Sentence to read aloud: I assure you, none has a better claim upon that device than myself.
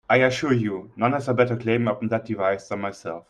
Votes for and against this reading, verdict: 2, 0, accepted